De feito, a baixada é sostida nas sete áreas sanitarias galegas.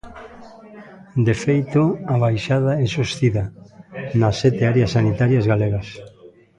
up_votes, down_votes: 3, 0